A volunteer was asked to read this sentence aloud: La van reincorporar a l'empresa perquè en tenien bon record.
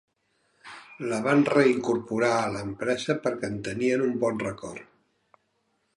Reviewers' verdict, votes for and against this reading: rejected, 0, 2